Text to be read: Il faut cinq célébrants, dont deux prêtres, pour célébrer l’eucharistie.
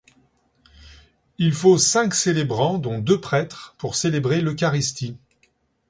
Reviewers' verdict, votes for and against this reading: accepted, 2, 0